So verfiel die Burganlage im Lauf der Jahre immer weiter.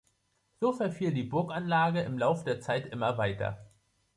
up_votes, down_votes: 1, 2